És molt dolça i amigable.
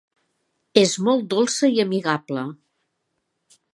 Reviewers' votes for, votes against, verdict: 3, 0, accepted